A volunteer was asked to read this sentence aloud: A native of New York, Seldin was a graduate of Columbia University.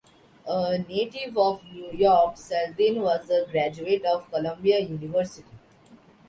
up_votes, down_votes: 2, 0